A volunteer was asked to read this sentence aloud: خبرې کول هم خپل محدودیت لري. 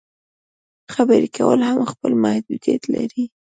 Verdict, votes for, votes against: accepted, 2, 0